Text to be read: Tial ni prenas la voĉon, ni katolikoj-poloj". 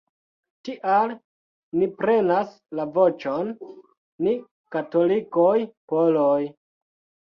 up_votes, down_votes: 2, 0